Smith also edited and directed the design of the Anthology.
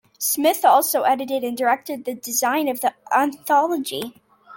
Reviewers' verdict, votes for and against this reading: rejected, 1, 2